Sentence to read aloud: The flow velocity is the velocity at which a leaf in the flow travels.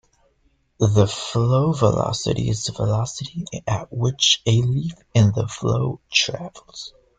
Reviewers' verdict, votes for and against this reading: accepted, 2, 1